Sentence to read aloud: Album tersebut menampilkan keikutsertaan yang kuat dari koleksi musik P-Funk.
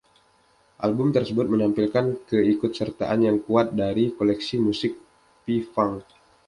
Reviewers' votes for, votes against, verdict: 2, 0, accepted